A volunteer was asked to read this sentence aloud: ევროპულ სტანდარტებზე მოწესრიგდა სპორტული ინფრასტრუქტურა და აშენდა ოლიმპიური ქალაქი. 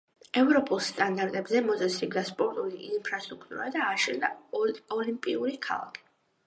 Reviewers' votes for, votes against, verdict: 1, 2, rejected